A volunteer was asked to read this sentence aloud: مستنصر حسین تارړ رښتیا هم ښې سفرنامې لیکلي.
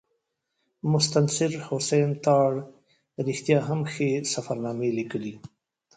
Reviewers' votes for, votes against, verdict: 2, 1, accepted